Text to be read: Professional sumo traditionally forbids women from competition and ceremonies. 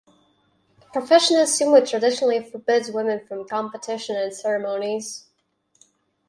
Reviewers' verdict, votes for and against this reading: rejected, 2, 2